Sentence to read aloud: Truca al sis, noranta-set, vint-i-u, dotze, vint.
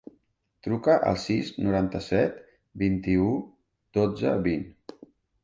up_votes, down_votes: 2, 0